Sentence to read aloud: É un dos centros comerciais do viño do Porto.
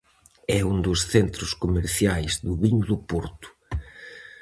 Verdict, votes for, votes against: accepted, 4, 0